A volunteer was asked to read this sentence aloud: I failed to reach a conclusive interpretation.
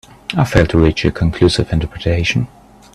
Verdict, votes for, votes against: accepted, 3, 0